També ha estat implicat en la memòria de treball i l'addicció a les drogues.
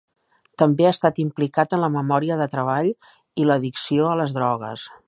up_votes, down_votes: 2, 0